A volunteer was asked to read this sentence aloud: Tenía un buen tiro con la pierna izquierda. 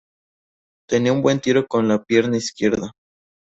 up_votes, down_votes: 2, 0